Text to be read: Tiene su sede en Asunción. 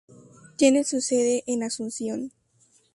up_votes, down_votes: 0, 2